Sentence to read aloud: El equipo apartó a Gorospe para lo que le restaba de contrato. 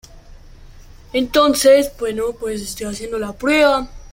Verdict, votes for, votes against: rejected, 0, 2